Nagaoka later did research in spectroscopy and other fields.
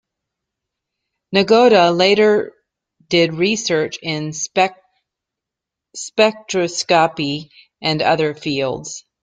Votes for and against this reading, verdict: 0, 3, rejected